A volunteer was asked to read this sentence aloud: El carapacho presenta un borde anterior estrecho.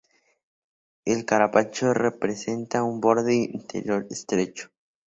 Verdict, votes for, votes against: accepted, 2, 0